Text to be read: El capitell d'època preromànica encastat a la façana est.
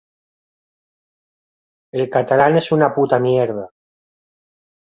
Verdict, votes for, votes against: rejected, 0, 2